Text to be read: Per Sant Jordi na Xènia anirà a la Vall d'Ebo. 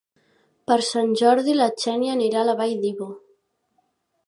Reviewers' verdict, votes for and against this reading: accepted, 2, 0